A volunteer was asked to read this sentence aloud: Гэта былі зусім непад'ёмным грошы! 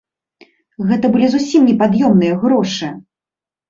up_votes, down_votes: 1, 2